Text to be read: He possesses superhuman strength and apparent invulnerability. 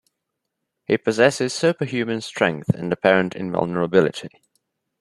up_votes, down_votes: 2, 0